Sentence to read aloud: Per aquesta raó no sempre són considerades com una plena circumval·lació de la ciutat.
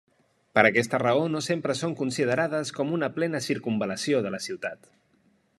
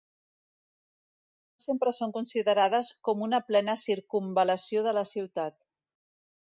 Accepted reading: first